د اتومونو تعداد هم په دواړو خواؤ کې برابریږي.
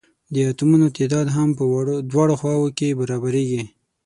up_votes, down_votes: 3, 6